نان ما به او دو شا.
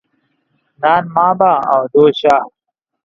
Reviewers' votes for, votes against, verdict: 2, 0, accepted